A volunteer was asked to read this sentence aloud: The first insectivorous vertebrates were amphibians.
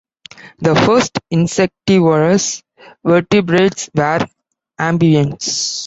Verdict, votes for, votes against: rejected, 1, 2